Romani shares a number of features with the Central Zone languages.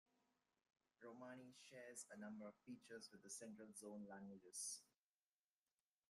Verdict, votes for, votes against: rejected, 0, 2